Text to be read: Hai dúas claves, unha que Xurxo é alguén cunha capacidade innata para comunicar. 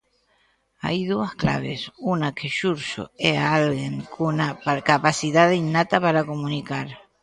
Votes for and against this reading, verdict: 0, 2, rejected